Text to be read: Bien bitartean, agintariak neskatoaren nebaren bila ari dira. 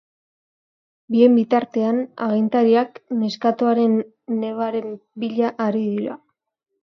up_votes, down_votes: 2, 1